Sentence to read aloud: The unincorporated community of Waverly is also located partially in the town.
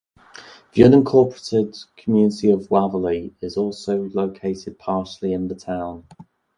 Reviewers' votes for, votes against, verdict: 2, 0, accepted